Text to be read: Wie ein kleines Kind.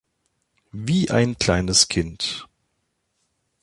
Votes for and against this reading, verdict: 2, 0, accepted